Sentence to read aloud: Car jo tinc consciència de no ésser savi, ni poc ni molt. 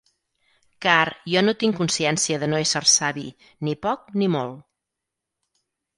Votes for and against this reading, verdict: 0, 4, rejected